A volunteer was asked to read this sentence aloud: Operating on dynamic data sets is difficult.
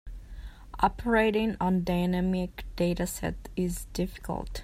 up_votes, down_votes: 1, 2